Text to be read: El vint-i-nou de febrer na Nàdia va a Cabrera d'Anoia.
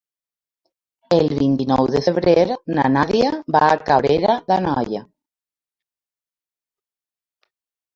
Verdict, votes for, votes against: accepted, 2, 1